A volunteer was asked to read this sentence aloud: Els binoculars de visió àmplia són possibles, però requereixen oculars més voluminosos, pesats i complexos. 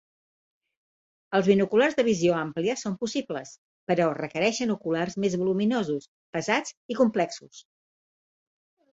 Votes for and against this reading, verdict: 2, 0, accepted